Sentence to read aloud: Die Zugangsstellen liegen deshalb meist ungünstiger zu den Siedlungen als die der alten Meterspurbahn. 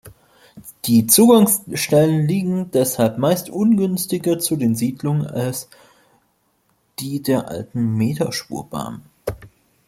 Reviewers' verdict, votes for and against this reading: rejected, 0, 2